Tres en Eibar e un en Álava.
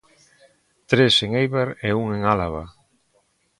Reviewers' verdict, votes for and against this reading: accepted, 2, 0